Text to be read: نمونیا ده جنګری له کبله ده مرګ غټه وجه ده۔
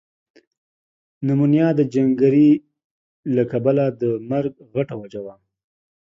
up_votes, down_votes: 2, 0